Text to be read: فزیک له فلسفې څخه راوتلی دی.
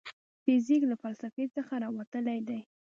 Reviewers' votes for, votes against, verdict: 2, 0, accepted